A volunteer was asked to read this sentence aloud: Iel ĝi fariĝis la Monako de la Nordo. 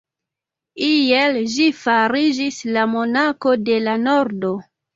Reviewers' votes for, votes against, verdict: 2, 0, accepted